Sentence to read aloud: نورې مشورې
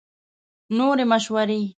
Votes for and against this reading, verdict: 2, 0, accepted